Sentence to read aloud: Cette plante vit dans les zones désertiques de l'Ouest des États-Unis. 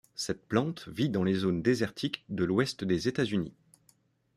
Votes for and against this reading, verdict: 2, 0, accepted